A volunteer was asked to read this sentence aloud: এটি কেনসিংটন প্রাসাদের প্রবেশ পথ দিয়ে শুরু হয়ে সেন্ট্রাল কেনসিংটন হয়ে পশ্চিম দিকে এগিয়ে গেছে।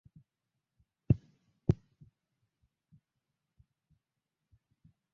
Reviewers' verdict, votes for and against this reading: rejected, 0, 4